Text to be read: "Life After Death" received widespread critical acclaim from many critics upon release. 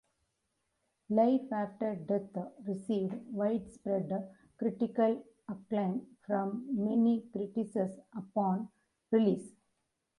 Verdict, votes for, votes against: rejected, 0, 2